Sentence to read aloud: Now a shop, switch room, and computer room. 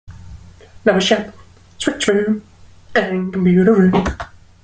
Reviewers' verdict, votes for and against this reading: rejected, 0, 2